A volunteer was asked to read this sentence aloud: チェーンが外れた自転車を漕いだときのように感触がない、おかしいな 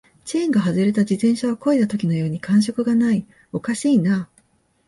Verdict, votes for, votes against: accepted, 2, 0